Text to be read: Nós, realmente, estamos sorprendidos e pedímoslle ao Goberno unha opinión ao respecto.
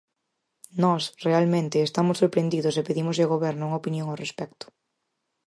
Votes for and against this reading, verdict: 4, 0, accepted